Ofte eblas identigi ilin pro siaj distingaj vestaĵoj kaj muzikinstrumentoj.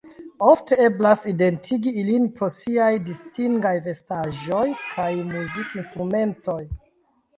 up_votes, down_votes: 1, 2